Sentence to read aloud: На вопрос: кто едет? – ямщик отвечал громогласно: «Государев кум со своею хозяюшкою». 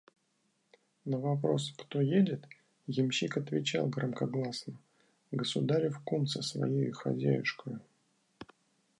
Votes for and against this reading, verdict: 0, 2, rejected